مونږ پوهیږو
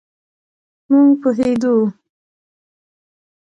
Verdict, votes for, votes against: accepted, 2, 0